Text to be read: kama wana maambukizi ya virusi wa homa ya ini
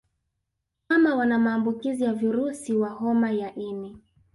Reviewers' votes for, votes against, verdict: 1, 2, rejected